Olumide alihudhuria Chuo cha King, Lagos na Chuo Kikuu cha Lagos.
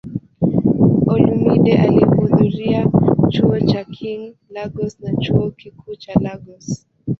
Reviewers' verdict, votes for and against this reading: rejected, 1, 2